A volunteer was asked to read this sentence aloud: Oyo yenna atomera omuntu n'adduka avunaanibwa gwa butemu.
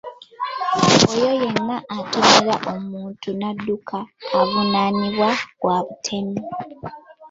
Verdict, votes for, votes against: rejected, 1, 2